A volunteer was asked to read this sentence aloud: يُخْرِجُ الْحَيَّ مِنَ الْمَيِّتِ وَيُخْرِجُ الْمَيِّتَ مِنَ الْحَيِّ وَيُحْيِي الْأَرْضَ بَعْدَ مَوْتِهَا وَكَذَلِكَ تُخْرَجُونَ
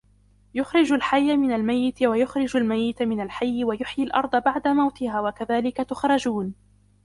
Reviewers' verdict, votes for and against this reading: accepted, 2, 1